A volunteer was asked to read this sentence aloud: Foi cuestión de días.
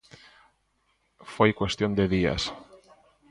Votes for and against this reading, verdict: 0, 2, rejected